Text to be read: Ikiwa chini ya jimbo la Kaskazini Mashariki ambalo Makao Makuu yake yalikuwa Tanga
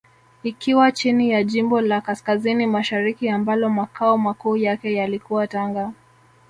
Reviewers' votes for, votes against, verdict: 2, 0, accepted